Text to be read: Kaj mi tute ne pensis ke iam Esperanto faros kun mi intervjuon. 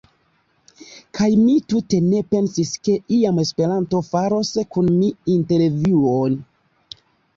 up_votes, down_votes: 2, 1